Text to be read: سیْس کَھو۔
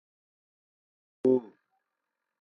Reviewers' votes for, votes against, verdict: 0, 2, rejected